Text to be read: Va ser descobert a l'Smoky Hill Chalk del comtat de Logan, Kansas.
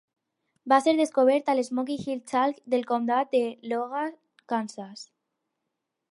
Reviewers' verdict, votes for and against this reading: rejected, 2, 4